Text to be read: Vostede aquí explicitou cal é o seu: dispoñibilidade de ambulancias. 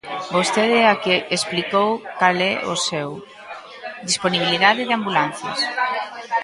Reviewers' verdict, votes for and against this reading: rejected, 0, 2